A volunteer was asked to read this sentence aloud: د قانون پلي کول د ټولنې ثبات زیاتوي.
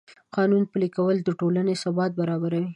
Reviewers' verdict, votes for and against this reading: accepted, 2, 0